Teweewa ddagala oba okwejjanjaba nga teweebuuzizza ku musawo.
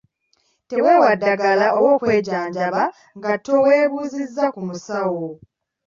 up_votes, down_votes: 2, 1